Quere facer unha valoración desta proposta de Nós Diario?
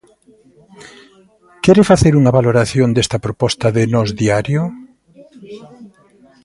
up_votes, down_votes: 2, 0